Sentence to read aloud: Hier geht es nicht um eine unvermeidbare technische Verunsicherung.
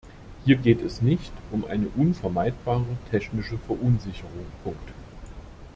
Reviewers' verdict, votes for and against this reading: rejected, 0, 2